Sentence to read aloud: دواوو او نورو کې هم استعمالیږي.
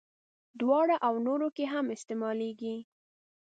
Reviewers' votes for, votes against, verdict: 0, 2, rejected